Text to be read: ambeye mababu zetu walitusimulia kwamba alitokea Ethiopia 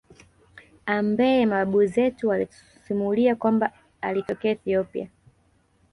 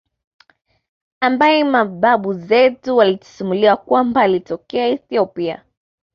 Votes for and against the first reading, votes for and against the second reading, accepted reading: 1, 2, 2, 0, second